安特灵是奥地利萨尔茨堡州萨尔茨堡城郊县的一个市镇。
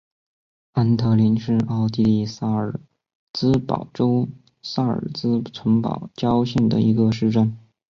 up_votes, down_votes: 2, 5